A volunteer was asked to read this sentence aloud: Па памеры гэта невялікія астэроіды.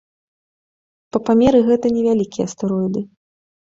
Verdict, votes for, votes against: accepted, 2, 0